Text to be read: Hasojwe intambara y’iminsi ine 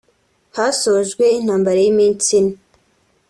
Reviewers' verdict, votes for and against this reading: accepted, 3, 0